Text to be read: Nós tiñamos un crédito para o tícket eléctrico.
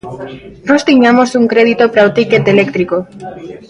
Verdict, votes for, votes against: rejected, 1, 2